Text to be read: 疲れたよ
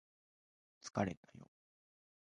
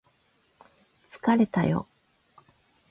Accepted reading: second